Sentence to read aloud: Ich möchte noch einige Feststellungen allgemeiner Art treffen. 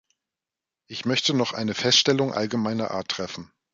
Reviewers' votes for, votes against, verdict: 1, 2, rejected